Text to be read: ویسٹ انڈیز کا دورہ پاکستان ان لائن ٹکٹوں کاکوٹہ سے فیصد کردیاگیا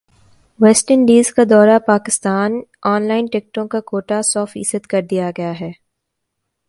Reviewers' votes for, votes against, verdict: 2, 0, accepted